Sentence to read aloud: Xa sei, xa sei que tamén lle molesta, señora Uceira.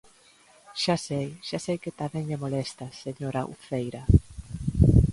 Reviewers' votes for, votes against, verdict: 2, 0, accepted